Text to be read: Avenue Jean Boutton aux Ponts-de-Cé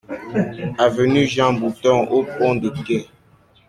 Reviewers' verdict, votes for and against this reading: rejected, 0, 2